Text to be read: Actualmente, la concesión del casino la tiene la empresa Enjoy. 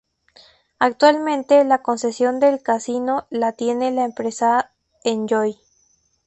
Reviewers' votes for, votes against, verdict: 2, 0, accepted